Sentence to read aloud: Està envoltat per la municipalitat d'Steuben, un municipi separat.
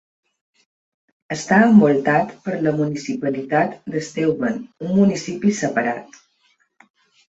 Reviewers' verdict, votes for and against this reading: accepted, 3, 1